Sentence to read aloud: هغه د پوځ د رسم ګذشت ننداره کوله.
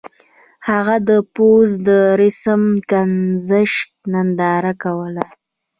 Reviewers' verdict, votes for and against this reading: accepted, 2, 0